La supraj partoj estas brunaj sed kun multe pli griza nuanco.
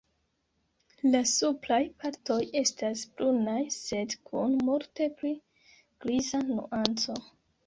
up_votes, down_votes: 2, 1